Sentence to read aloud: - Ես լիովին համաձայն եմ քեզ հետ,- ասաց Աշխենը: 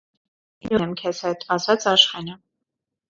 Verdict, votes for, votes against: rejected, 0, 2